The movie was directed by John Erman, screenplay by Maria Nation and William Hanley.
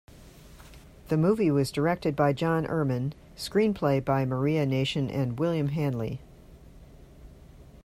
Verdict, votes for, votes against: accepted, 2, 0